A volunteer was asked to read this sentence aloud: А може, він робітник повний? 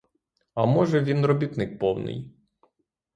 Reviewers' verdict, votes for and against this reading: rejected, 3, 3